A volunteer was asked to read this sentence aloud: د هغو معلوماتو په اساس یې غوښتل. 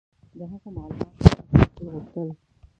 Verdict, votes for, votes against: rejected, 0, 2